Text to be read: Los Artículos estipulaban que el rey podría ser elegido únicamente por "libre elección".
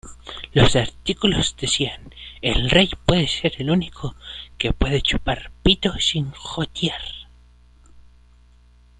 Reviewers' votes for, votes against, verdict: 0, 2, rejected